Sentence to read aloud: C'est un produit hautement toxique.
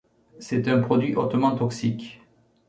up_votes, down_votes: 3, 0